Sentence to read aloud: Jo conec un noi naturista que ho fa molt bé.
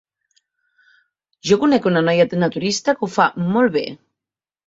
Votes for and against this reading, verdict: 1, 2, rejected